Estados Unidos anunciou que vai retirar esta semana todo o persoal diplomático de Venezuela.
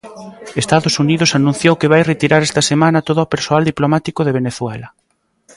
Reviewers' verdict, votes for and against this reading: rejected, 1, 2